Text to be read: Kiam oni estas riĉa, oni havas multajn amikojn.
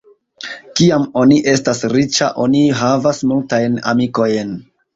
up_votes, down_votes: 1, 2